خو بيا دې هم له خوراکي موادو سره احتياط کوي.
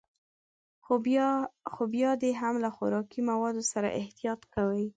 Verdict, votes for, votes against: accepted, 2, 0